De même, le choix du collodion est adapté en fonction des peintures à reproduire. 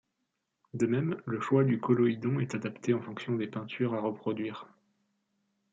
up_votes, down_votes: 0, 2